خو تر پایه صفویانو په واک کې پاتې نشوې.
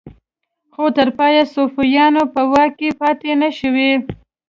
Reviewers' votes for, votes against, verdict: 2, 1, accepted